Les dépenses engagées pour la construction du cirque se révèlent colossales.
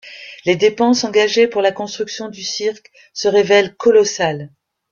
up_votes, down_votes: 2, 0